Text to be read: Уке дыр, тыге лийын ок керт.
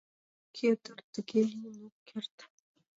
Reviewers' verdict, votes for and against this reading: rejected, 1, 2